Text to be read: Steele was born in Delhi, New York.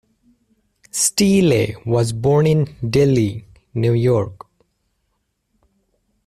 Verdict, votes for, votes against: accepted, 2, 0